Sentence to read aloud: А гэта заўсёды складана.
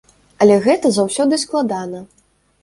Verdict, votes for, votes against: rejected, 0, 2